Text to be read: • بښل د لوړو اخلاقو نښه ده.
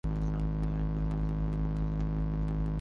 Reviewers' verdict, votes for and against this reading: rejected, 0, 2